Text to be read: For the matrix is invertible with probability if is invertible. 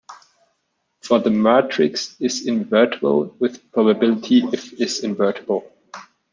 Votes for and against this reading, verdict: 1, 2, rejected